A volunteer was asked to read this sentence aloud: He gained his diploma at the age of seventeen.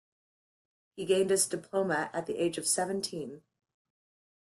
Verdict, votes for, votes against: accepted, 2, 0